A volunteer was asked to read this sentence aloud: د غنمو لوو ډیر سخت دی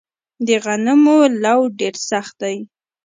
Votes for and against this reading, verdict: 2, 0, accepted